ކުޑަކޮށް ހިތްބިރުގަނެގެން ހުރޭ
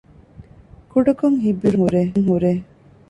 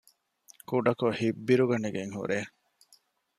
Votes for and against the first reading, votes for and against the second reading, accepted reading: 0, 2, 2, 0, second